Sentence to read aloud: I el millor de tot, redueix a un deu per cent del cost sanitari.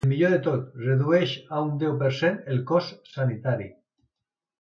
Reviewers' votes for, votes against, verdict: 1, 2, rejected